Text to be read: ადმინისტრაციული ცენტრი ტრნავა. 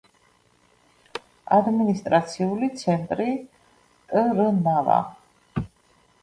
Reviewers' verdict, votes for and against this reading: accepted, 2, 0